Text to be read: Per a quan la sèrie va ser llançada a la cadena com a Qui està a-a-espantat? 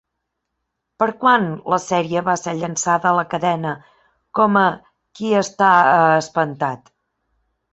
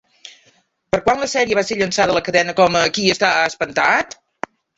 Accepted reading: first